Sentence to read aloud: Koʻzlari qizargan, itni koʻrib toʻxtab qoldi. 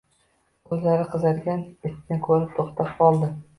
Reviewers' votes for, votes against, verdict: 0, 2, rejected